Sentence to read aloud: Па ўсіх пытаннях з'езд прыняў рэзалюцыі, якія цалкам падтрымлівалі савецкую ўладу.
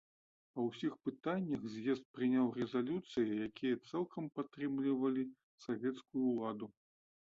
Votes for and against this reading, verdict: 2, 0, accepted